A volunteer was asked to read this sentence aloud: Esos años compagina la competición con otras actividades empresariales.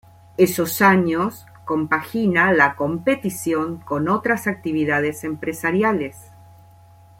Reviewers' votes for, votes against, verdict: 2, 0, accepted